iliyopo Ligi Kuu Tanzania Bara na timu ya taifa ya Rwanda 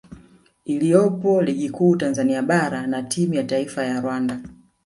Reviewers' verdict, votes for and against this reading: accepted, 2, 0